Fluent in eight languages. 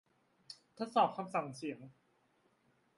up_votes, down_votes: 0, 2